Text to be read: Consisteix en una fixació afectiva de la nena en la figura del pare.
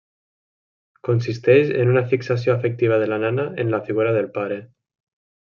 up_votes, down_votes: 1, 2